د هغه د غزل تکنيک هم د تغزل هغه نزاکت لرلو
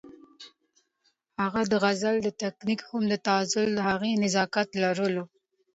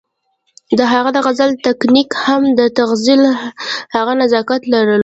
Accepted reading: first